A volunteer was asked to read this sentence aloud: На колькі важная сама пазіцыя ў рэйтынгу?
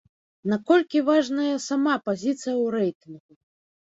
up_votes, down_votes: 1, 2